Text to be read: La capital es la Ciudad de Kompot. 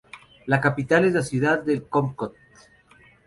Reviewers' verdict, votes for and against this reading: accepted, 2, 0